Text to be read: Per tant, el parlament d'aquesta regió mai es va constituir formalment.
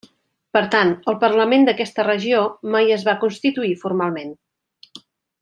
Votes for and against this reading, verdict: 3, 0, accepted